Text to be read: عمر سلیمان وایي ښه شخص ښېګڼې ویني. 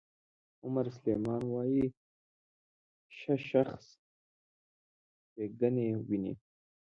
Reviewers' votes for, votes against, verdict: 1, 2, rejected